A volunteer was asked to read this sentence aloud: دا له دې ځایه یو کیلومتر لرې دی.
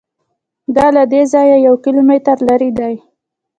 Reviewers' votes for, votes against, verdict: 0, 2, rejected